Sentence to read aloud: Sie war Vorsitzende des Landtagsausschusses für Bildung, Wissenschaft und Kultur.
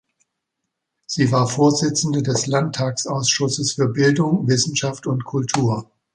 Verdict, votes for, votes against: accepted, 2, 0